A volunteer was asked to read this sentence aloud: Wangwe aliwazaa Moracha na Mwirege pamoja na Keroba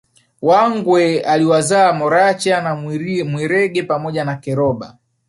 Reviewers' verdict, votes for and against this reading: rejected, 0, 3